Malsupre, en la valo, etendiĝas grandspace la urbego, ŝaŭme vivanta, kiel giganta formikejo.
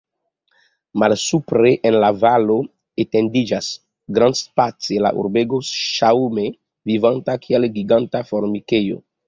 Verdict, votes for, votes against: accepted, 2, 0